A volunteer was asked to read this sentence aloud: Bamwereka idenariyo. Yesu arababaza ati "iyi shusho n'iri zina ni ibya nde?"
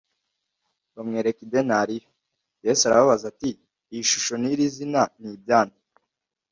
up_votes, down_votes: 2, 0